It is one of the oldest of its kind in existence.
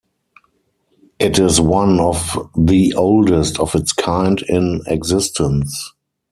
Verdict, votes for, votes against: accepted, 4, 0